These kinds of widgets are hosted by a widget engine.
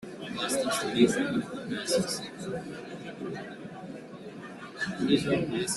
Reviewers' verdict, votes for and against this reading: rejected, 0, 2